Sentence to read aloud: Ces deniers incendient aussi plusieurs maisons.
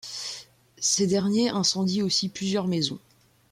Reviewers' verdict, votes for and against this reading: rejected, 1, 2